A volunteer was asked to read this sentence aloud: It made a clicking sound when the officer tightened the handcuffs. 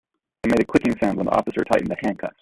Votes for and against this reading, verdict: 3, 1, accepted